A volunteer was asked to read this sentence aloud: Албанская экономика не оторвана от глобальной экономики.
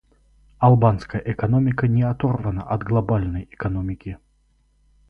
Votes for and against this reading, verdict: 4, 0, accepted